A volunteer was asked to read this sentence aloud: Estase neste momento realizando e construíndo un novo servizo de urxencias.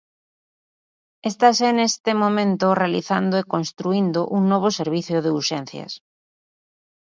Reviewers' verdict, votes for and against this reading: rejected, 1, 2